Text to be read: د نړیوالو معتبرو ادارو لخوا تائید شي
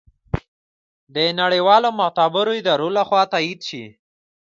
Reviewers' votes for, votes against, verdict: 2, 0, accepted